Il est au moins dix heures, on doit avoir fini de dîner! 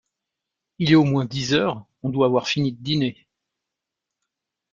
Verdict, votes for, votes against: rejected, 1, 2